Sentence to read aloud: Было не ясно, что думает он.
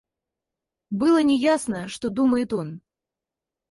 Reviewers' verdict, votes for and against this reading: accepted, 4, 0